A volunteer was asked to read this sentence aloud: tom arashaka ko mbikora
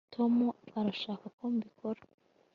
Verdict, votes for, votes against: accepted, 2, 0